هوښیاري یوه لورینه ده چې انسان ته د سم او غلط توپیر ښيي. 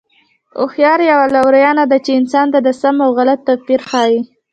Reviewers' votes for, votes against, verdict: 1, 2, rejected